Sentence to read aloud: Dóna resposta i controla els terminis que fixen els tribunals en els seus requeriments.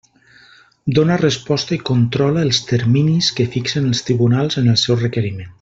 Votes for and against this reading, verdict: 1, 2, rejected